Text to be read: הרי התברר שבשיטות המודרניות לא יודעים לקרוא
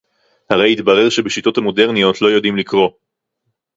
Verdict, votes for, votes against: rejected, 2, 2